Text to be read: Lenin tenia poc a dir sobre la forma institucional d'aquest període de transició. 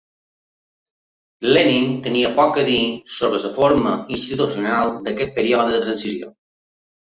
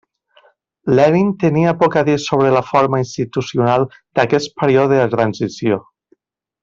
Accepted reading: second